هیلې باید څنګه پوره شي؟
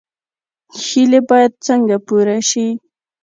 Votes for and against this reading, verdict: 2, 0, accepted